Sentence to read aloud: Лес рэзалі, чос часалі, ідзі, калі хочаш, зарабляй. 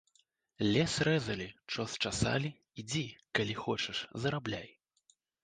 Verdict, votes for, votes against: accepted, 2, 0